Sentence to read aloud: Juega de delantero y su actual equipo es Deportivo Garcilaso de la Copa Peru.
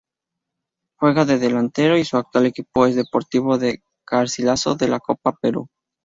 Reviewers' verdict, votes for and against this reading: rejected, 0, 2